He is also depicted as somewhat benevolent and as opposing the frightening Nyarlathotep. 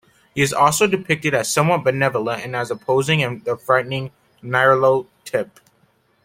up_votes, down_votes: 2, 0